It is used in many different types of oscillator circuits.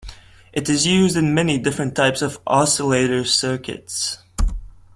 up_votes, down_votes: 2, 0